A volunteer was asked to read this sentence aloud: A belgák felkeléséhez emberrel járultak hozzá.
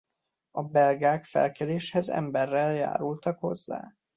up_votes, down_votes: 1, 2